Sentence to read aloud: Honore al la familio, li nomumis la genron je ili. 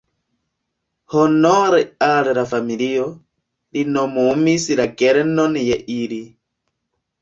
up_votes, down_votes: 0, 2